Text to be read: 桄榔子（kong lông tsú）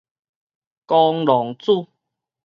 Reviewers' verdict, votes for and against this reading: rejected, 2, 2